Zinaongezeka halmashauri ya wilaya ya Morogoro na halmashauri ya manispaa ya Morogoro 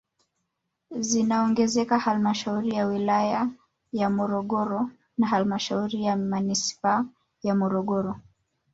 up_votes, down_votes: 1, 2